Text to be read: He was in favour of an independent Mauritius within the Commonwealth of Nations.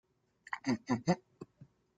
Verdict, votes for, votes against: rejected, 0, 2